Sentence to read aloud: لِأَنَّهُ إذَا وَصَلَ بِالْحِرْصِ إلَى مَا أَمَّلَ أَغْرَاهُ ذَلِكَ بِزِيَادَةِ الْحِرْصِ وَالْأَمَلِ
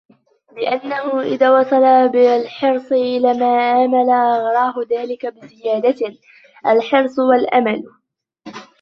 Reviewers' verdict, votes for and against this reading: rejected, 1, 2